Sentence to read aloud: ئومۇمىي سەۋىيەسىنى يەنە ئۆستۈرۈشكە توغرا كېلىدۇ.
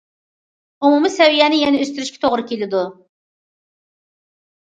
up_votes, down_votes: 2, 0